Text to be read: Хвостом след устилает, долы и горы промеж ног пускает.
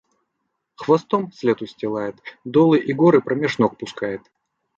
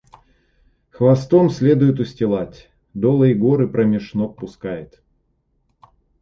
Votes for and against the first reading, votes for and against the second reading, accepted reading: 2, 0, 1, 2, first